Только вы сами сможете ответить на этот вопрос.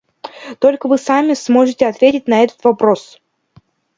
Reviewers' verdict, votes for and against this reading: accepted, 2, 0